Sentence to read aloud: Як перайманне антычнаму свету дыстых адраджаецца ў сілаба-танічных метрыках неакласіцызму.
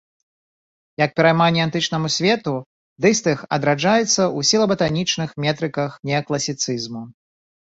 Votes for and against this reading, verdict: 2, 0, accepted